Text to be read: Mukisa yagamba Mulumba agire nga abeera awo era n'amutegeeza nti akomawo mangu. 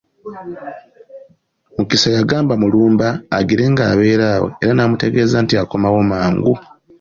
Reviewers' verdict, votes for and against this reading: accepted, 2, 0